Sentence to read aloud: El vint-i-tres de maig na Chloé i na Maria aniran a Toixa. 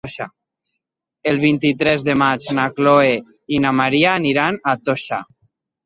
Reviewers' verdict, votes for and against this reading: rejected, 1, 2